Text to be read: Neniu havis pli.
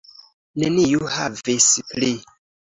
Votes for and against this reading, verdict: 2, 0, accepted